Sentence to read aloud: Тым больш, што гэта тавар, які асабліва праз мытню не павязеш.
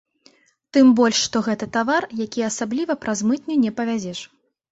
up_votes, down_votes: 2, 0